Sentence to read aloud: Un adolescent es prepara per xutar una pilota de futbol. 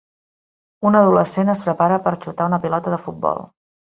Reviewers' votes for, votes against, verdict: 3, 0, accepted